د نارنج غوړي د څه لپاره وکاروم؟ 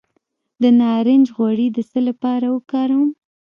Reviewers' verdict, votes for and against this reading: accepted, 2, 0